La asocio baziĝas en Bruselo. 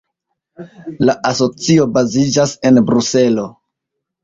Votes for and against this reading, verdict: 2, 1, accepted